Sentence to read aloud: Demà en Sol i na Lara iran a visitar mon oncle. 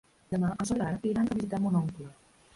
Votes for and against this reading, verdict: 0, 2, rejected